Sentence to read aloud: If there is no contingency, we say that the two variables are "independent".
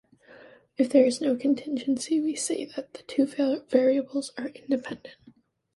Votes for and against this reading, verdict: 1, 2, rejected